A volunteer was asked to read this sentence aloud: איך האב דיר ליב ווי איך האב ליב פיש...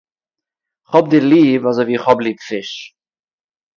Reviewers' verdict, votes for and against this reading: rejected, 0, 2